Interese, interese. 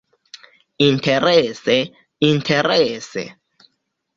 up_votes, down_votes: 2, 0